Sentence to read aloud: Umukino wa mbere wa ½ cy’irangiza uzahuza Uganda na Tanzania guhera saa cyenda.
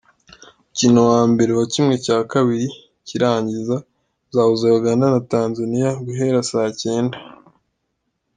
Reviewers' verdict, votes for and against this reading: accepted, 2, 0